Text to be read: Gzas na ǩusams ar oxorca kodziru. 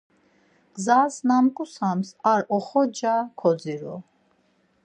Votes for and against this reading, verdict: 4, 0, accepted